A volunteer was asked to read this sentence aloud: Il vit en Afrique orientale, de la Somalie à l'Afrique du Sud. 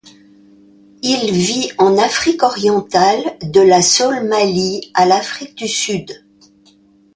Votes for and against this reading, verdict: 1, 2, rejected